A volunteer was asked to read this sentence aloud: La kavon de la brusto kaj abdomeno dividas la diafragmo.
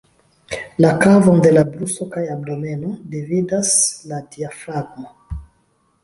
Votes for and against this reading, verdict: 1, 2, rejected